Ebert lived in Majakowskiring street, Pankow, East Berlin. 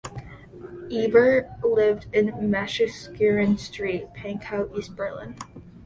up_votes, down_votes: 1, 2